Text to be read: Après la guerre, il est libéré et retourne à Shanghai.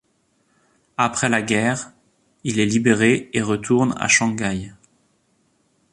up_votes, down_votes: 2, 0